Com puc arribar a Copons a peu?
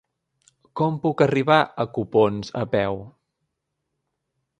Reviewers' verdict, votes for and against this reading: accepted, 5, 0